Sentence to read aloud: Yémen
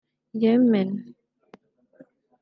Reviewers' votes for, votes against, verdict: 1, 2, rejected